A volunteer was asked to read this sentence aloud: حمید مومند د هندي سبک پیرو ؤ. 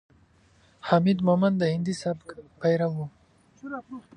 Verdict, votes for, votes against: accepted, 2, 0